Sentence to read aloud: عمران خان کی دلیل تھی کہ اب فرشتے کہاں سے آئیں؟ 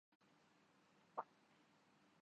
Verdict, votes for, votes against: rejected, 1, 2